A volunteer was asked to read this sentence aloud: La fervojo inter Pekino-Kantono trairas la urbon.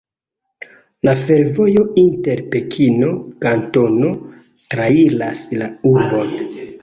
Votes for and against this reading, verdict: 2, 0, accepted